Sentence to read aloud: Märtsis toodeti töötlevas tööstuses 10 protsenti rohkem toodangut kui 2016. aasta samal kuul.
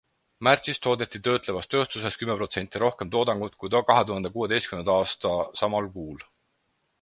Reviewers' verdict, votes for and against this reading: rejected, 0, 2